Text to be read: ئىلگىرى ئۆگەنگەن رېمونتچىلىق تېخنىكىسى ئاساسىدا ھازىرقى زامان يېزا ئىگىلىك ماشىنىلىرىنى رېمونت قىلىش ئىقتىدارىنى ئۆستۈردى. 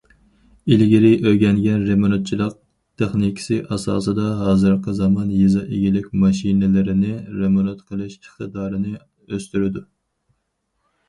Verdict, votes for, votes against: rejected, 2, 2